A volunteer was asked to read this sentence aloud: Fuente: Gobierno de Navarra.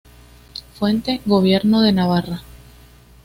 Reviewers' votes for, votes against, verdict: 2, 0, accepted